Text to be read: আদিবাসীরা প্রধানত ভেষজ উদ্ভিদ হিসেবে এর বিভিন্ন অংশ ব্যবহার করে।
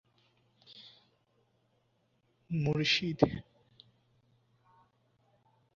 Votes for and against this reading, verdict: 0, 12, rejected